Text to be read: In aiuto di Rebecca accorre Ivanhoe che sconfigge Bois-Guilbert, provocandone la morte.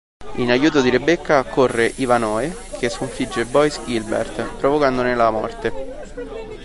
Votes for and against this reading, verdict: 1, 2, rejected